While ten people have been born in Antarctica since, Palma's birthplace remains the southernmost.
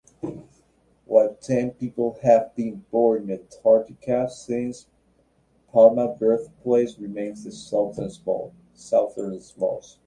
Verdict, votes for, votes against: rejected, 0, 2